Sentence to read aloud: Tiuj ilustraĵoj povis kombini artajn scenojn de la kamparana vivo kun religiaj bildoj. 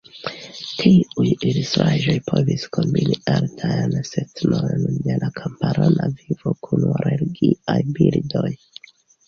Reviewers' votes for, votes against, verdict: 0, 2, rejected